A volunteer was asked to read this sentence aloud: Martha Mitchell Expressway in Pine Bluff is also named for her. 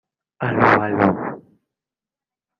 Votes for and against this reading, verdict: 0, 2, rejected